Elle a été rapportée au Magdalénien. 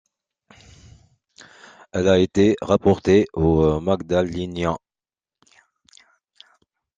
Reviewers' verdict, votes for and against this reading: rejected, 0, 2